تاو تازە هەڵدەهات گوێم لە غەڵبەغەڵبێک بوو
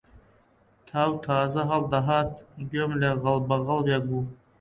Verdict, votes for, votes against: accepted, 2, 0